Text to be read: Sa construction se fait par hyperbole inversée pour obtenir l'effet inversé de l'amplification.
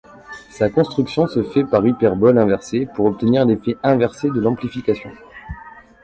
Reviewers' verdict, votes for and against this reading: rejected, 1, 2